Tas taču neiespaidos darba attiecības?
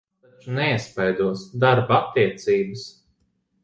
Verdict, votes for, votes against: rejected, 0, 2